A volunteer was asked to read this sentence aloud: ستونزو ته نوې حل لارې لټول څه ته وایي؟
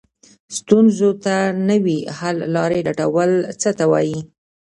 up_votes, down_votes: 2, 0